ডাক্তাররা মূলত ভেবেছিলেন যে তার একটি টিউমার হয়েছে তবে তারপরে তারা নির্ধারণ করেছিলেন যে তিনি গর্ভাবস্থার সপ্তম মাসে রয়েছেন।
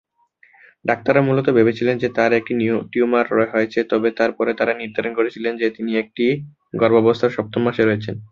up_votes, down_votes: 1, 9